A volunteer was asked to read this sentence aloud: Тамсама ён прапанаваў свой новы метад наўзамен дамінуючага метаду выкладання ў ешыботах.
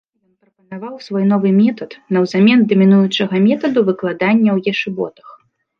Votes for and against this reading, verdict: 0, 2, rejected